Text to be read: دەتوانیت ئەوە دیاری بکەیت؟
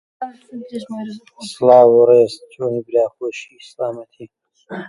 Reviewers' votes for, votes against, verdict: 0, 2, rejected